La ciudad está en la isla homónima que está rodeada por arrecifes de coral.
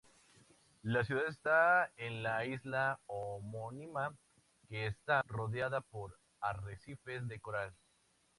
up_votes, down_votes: 2, 0